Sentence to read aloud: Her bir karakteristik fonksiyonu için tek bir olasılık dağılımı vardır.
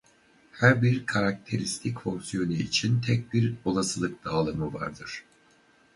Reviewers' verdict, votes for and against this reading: rejected, 2, 2